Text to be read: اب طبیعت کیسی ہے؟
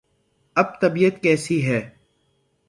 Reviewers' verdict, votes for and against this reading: accepted, 9, 0